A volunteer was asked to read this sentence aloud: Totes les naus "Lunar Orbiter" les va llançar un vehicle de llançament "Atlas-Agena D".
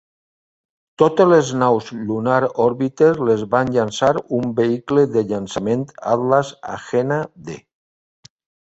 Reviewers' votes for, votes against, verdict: 1, 2, rejected